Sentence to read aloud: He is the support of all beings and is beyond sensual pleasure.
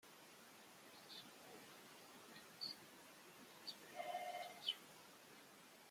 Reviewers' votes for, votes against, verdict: 0, 2, rejected